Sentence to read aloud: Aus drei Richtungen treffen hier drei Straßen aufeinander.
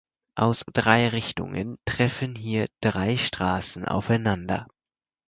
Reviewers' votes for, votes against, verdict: 4, 0, accepted